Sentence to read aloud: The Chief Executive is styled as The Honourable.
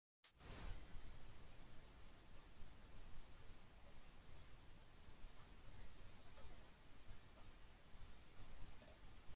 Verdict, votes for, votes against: rejected, 0, 2